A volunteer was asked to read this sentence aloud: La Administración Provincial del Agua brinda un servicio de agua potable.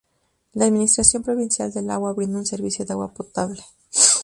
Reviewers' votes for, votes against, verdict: 4, 0, accepted